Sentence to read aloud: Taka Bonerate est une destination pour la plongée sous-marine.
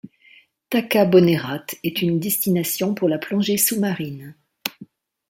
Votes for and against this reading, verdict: 2, 0, accepted